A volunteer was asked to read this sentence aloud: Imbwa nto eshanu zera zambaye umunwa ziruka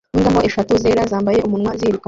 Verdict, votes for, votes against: rejected, 0, 2